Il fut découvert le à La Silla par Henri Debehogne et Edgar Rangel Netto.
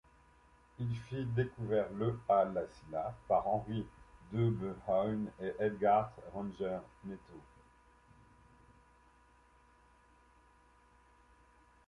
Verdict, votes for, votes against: rejected, 1, 2